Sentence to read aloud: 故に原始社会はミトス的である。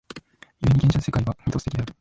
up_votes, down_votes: 1, 2